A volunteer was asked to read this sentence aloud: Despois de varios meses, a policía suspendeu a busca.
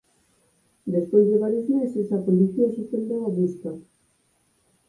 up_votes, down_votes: 2, 4